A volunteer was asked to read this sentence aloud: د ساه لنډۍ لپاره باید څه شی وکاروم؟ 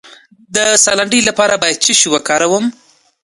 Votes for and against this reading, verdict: 2, 0, accepted